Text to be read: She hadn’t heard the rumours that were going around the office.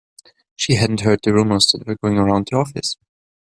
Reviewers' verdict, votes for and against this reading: rejected, 0, 2